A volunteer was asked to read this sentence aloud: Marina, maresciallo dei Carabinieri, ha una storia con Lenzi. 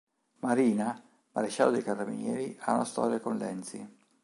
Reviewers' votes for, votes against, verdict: 2, 0, accepted